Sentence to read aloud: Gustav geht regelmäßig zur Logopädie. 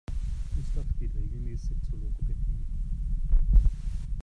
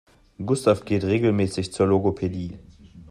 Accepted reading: second